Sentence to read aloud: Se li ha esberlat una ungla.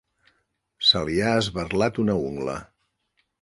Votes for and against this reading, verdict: 4, 0, accepted